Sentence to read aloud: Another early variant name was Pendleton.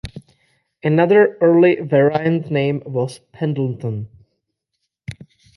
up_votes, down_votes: 0, 2